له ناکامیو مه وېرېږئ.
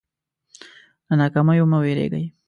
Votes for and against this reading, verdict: 2, 0, accepted